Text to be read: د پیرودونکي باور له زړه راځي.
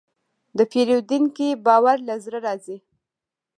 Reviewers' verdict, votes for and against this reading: accepted, 2, 0